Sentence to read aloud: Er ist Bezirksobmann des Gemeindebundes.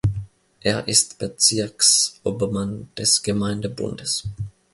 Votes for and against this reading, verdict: 1, 2, rejected